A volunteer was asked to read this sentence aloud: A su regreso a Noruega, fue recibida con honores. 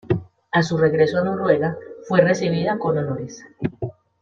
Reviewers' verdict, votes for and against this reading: accepted, 2, 0